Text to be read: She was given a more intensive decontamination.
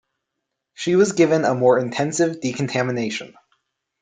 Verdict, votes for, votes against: accepted, 2, 0